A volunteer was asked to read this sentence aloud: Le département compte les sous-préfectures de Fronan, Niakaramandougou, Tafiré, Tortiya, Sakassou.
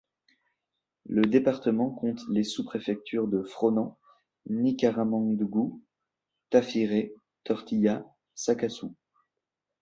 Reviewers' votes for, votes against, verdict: 0, 2, rejected